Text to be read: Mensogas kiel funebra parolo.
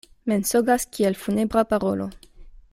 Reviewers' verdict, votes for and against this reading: accepted, 2, 0